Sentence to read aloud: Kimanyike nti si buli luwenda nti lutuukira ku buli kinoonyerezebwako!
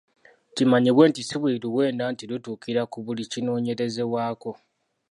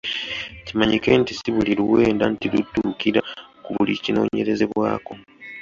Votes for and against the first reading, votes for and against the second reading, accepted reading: 1, 2, 2, 0, second